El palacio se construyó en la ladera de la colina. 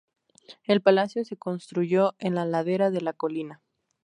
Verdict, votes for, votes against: rejected, 2, 2